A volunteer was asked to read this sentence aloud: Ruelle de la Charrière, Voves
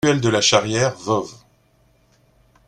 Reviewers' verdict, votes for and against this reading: accepted, 2, 0